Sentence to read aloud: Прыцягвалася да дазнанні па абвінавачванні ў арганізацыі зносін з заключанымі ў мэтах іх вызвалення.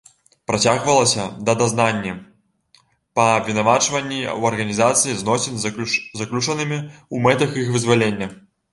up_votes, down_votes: 0, 2